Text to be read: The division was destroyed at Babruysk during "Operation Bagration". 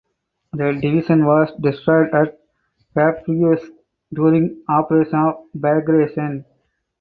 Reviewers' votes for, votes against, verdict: 0, 4, rejected